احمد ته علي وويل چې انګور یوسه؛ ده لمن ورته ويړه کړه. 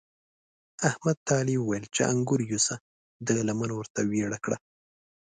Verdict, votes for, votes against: accepted, 2, 0